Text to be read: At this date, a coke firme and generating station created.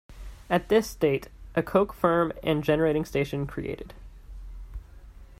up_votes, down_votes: 2, 0